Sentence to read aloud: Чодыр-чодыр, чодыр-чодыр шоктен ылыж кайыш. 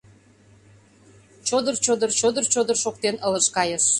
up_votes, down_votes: 2, 0